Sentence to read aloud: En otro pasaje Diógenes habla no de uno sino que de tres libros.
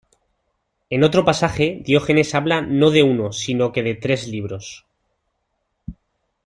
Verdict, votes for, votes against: accepted, 2, 0